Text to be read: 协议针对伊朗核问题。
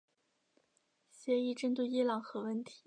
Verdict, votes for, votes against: accepted, 2, 0